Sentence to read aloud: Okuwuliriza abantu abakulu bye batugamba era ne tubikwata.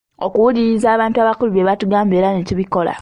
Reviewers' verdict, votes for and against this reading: rejected, 0, 2